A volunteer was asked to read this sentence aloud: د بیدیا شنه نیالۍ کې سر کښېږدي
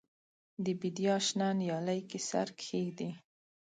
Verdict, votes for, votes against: accepted, 2, 1